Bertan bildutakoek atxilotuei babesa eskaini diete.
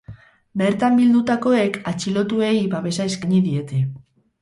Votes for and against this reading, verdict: 0, 2, rejected